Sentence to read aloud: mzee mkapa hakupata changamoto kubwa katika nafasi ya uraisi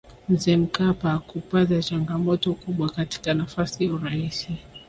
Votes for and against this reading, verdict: 2, 0, accepted